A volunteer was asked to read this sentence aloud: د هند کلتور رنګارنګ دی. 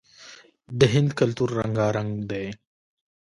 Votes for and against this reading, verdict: 0, 2, rejected